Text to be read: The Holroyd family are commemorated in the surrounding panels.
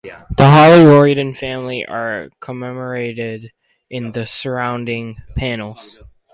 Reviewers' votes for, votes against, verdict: 4, 0, accepted